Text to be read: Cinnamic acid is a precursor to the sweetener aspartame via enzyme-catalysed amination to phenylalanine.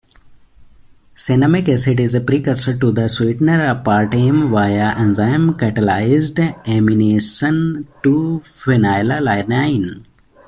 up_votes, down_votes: 1, 2